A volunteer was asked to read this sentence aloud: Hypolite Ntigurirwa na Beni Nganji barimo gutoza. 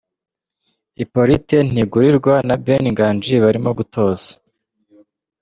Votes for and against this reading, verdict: 2, 1, accepted